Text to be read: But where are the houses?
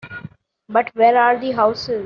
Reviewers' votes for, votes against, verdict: 1, 2, rejected